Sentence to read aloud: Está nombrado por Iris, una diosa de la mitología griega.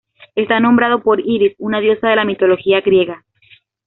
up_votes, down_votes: 2, 0